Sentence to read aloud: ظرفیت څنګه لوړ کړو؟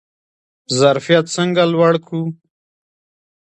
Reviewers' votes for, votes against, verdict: 2, 1, accepted